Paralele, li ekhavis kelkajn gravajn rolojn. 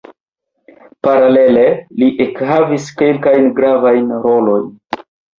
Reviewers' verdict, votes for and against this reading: rejected, 1, 2